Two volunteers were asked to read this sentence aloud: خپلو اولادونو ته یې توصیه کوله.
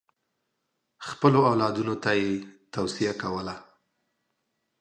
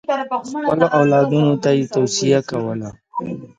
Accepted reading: first